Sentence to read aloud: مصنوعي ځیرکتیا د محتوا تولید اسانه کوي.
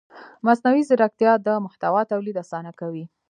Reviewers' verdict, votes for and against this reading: rejected, 0, 2